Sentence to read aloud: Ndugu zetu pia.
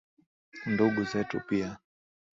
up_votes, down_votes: 9, 0